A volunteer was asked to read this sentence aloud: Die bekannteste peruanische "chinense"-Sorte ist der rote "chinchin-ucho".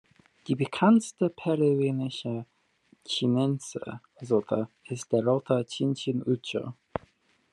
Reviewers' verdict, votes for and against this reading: accepted, 2, 0